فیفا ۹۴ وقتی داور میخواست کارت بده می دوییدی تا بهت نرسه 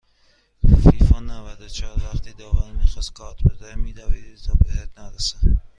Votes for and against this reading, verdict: 0, 2, rejected